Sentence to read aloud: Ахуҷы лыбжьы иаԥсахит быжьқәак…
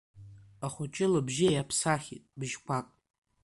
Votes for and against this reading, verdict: 0, 2, rejected